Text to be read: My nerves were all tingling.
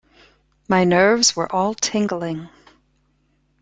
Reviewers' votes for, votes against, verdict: 2, 0, accepted